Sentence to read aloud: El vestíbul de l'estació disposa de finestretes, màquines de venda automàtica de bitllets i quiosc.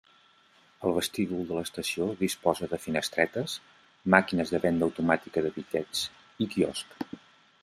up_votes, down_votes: 3, 0